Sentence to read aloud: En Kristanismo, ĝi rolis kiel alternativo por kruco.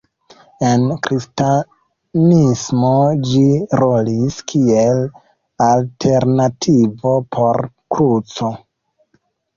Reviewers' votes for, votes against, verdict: 0, 2, rejected